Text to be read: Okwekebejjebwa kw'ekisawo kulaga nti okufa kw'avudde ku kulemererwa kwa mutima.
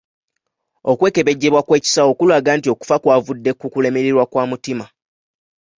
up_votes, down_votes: 2, 0